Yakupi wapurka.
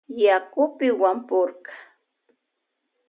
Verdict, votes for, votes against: accepted, 2, 0